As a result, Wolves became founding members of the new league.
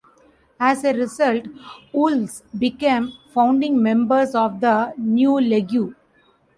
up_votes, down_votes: 0, 2